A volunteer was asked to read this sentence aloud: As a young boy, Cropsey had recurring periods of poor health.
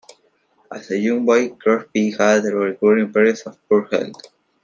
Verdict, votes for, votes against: rejected, 0, 2